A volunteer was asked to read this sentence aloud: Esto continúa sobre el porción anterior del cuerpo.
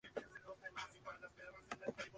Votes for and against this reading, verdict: 0, 3, rejected